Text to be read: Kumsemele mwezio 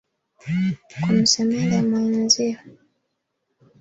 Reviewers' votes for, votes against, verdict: 1, 2, rejected